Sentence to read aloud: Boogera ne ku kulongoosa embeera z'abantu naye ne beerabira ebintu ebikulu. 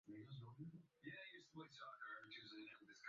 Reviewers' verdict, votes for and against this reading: rejected, 0, 2